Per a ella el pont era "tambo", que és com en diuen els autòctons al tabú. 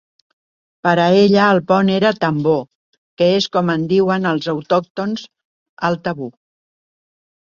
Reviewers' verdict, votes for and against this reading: rejected, 1, 2